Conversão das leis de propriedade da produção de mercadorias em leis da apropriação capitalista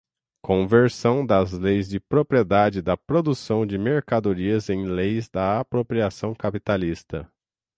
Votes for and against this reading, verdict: 6, 0, accepted